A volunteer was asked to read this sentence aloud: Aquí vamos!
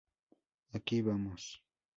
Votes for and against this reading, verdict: 2, 0, accepted